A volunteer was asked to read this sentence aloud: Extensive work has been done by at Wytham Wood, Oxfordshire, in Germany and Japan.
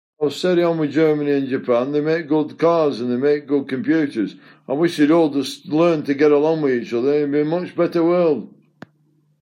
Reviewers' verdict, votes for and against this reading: rejected, 0, 2